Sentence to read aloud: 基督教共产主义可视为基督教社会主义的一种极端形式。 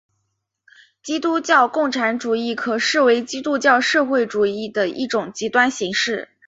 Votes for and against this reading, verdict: 4, 0, accepted